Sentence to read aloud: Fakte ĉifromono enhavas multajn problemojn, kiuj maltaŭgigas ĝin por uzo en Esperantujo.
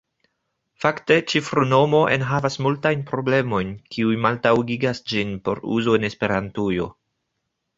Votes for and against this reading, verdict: 1, 2, rejected